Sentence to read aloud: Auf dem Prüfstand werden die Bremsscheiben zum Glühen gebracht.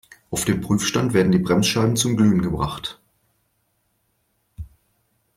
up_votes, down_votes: 2, 0